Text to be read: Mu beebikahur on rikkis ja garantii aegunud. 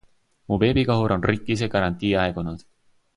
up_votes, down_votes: 2, 1